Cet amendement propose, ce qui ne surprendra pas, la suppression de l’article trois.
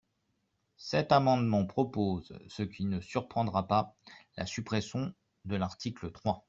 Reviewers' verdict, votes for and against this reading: accepted, 2, 0